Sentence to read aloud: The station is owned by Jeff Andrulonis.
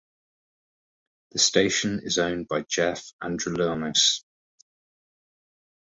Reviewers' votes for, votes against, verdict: 2, 0, accepted